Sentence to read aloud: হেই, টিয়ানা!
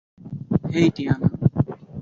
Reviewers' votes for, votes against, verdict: 5, 0, accepted